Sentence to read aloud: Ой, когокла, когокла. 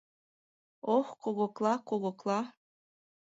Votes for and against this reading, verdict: 1, 2, rejected